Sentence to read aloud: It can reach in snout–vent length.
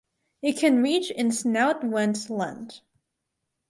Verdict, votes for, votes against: rejected, 2, 4